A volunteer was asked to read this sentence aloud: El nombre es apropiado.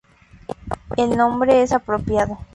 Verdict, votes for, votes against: rejected, 2, 2